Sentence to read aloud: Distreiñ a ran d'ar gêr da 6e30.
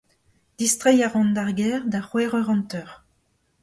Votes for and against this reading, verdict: 0, 2, rejected